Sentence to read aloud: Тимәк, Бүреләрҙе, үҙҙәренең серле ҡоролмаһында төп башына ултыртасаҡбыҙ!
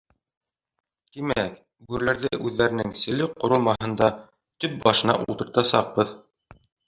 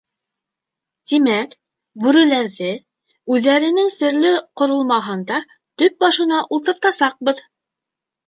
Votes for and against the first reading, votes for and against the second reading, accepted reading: 2, 3, 2, 0, second